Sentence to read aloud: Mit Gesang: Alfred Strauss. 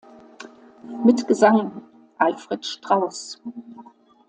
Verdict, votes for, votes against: accepted, 2, 0